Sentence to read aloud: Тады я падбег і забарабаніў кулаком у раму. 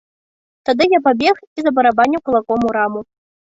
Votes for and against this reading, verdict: 1, 2, rejected